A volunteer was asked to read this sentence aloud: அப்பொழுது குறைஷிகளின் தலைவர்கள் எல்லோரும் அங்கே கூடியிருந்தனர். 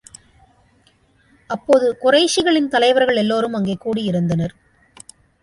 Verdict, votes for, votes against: rejected, 1, 2